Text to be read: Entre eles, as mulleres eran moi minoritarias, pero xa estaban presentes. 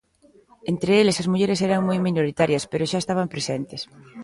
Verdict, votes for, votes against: accepted, 2, 0